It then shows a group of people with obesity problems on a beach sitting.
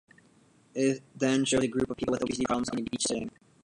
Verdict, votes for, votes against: rejected, 0, 2